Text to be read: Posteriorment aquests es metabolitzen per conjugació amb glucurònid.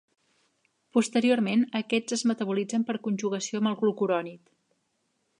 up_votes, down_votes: 1, 2